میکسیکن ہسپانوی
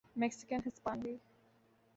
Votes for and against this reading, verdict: 2, 0, accepted